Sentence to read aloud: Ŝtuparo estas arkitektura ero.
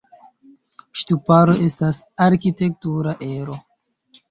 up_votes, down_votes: 2, 0